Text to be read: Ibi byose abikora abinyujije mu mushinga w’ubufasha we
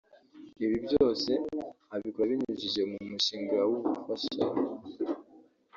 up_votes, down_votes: 0, 2